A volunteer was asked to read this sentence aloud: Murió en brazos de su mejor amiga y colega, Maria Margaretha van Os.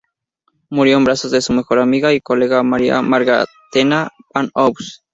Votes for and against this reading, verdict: 0, 4, rejected